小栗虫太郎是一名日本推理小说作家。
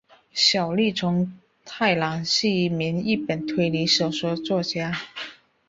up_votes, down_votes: 3, 0